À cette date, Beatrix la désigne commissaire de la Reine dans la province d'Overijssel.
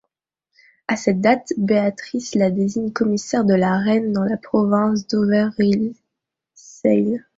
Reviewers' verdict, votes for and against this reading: rejected, 1, 2